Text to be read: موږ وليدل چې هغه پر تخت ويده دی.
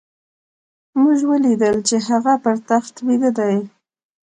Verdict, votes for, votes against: accepted, 2, 0